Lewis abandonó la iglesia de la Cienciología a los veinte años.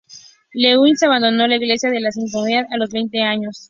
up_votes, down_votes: 2, 0